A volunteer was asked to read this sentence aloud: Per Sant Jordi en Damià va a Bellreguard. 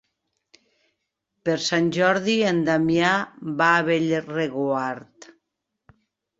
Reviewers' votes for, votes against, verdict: 0, 2, rejected